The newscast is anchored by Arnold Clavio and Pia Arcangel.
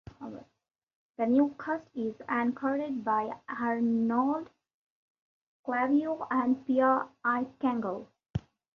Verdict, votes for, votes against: accepted, 2, 1